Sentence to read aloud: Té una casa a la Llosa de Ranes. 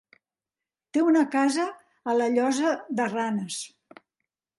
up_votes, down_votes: 3, 0